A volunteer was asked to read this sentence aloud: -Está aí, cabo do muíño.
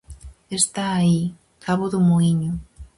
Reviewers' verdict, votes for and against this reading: accepted, 4, 0